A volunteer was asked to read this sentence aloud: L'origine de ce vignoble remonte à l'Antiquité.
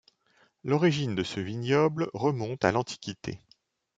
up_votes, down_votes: 2, 0